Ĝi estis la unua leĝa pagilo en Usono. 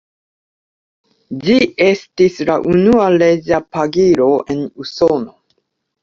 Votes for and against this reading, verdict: 1, 2, rejected